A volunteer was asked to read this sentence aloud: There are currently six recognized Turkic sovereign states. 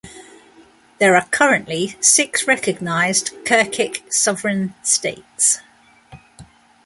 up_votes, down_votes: 2, 0